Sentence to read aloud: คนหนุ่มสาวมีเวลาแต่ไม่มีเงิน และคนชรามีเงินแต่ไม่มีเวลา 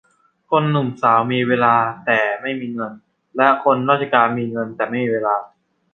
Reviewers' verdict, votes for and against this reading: rejected, 0, 2